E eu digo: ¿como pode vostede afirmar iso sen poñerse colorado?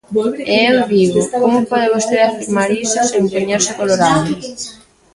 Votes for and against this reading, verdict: 0, 2, rejected